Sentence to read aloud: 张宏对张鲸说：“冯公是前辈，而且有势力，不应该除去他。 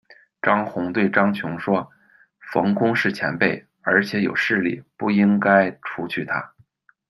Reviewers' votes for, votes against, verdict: 1, 2, rejected